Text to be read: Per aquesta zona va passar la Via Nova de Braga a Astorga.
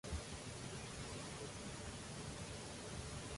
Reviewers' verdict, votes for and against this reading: rejected, 0, 2